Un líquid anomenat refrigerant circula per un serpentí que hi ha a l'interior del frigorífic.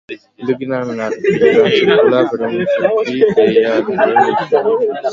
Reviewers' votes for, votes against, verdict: 0, 2, rejected